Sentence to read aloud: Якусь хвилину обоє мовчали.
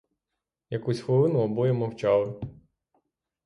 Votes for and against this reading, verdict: 9, 0, accepted